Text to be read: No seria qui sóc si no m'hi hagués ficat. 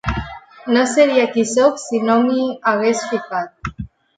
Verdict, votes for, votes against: accepted, 4, 0